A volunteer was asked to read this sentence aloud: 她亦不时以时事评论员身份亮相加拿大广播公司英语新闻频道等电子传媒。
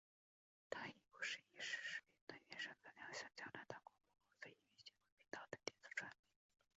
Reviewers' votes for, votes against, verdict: 2, 3, rejected